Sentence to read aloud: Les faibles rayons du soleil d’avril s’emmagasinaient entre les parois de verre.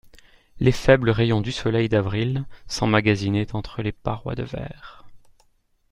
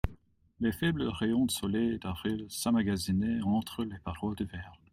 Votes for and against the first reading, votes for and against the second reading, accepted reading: 2, 0, 1, 2, first